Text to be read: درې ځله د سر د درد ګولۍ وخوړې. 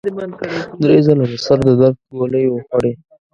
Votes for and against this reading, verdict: 1, 2, rejected